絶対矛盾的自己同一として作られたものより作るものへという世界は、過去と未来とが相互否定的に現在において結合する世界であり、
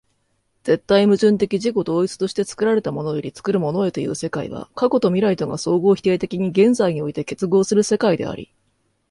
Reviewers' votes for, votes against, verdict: 2, 0, accepted